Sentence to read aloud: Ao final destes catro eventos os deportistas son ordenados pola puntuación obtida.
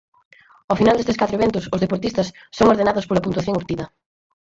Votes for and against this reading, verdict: 4, 0, accepted